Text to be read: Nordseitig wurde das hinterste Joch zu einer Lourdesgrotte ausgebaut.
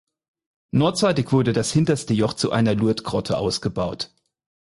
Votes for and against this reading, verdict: 4, 0, accepted